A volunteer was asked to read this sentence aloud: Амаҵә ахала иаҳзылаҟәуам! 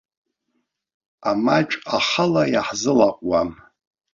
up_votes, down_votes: 2, 1